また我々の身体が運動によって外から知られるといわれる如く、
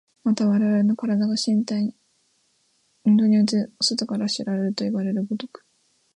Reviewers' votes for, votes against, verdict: 1, 2, rejected